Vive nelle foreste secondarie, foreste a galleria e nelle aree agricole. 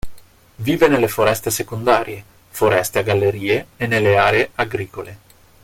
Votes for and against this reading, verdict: 1, 2, rejected